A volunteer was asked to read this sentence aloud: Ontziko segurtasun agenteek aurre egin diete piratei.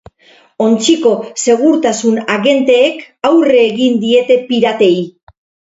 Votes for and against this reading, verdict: 2, 0, accepted